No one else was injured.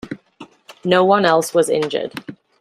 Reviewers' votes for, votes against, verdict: 2, 0, accepted